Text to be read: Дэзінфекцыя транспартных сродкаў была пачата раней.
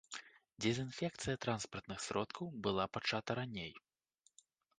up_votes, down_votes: 2, 0